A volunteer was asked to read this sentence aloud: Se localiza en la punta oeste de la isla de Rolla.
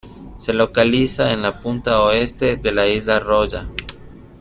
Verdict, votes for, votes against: rejected, 0, 2